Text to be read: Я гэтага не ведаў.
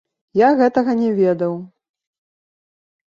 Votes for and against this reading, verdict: 0, 2, rejected